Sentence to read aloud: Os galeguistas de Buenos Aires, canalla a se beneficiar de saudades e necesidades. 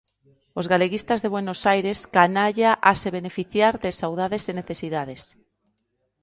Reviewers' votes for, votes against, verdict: 2, 0, accepted